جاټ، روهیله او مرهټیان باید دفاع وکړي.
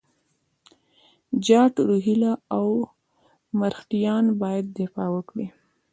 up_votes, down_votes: 2, 1